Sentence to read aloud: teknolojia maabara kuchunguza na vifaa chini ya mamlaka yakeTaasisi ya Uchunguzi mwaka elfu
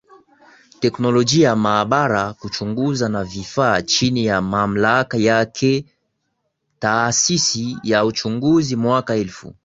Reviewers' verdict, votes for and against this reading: accepted, 7, 3